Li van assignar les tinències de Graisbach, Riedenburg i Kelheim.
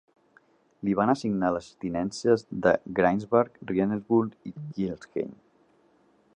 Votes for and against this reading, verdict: 2, 0, accepted